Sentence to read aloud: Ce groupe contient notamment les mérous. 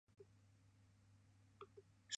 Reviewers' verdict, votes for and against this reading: rejected, 0, 2